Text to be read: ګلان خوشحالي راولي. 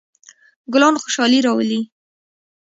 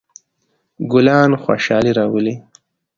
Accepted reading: second